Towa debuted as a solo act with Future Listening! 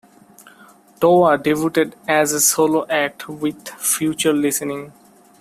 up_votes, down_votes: 0, 2